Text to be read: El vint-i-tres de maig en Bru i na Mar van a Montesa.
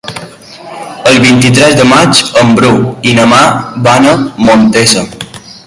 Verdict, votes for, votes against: rejected, 2, 3